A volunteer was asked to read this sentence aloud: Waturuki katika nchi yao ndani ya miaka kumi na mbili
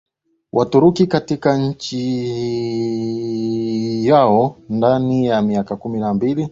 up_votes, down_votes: 2, 0